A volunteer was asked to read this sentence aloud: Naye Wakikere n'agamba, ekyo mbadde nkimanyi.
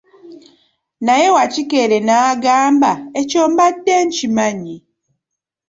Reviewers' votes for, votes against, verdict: 2, 0, accepted